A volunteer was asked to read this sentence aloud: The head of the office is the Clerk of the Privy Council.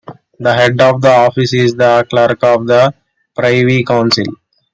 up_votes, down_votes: 2, 1